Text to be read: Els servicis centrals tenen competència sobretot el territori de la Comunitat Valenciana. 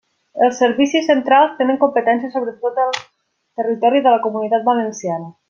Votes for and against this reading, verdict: 1, 2, rejected